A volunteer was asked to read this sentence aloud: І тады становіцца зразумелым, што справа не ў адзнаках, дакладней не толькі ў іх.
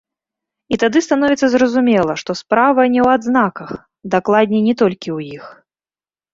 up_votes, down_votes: 1, 2